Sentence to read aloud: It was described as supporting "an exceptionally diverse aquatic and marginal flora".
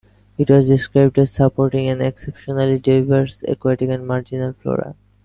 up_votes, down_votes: 0, 2